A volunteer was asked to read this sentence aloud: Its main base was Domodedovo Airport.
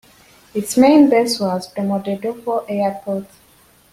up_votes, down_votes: 2, 0